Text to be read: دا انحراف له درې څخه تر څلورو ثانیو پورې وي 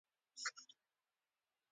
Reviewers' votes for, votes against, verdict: 1, 2, rejected